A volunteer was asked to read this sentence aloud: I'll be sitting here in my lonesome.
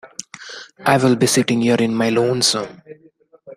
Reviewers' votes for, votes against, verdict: 0, 2, rejected